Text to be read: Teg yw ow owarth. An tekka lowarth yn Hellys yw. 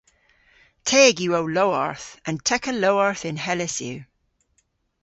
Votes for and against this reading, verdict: 0, 2, rejected